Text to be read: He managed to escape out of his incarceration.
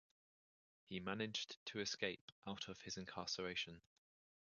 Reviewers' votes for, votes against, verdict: 2, 1, accepted